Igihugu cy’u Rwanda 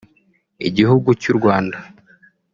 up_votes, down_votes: 1, 2